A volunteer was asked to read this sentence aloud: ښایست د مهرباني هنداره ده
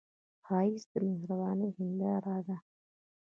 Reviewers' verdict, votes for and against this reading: rejected, 0, 2